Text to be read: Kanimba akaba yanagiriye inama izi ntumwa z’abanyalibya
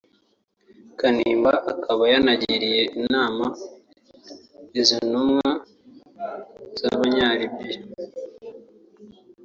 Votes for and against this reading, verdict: 1, 2, rejected